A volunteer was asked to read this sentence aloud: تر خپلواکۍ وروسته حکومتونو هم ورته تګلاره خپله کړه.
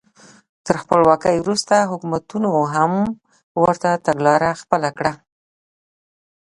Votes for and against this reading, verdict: 2, 0, accepted